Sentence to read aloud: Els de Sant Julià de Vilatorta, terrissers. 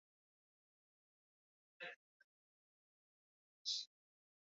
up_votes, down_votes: 0, 2